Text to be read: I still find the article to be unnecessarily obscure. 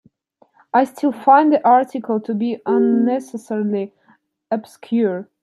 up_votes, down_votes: 2, 0